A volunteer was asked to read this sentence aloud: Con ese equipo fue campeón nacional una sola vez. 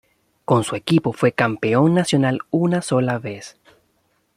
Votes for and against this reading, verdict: 1, 2, rejected